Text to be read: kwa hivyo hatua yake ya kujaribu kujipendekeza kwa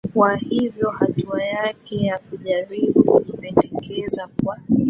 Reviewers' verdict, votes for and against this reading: rejected, 1, 2